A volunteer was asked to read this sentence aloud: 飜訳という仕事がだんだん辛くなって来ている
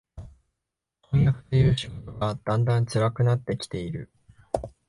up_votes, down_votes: 1, 2